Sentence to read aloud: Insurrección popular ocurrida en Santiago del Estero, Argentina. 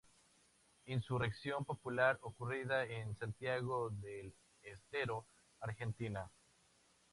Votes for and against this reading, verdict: 4, 0, accepted